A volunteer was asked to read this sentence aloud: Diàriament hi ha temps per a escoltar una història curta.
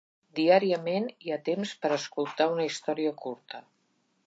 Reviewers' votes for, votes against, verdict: 3, 0, accepted